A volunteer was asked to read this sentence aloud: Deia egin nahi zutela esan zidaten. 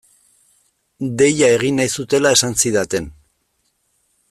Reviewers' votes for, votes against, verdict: 2, 0, accepted